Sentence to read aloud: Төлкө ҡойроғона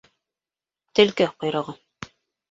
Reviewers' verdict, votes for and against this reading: rejected, 0, 2